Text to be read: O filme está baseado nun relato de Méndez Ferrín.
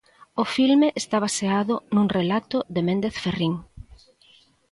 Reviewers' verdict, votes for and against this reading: accepted, 2, 0